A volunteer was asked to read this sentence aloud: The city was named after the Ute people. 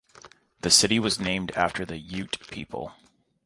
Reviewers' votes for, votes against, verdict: 2, 0, accepted